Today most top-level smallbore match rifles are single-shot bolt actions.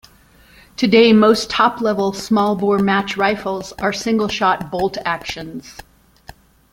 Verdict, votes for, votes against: accepted, 2, 0